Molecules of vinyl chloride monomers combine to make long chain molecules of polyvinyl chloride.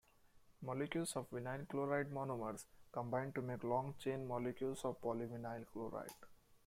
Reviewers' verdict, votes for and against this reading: rejected, 1, 2